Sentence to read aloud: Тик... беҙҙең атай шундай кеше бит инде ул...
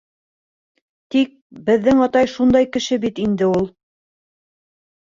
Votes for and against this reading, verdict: 0, 2, rejected